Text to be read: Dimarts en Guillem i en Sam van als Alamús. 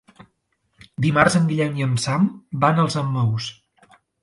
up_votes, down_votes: 1, 2